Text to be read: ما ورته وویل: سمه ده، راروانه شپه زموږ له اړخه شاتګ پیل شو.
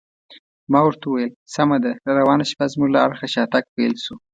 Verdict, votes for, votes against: accepted, 3, 0